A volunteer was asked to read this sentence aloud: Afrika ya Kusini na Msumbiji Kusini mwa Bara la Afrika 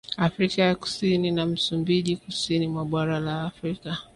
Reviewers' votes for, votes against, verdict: 1, 2, rejected